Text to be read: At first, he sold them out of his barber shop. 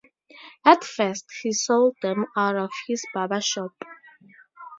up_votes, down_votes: 4, 0